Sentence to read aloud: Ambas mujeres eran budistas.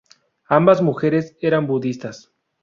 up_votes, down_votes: 2, 0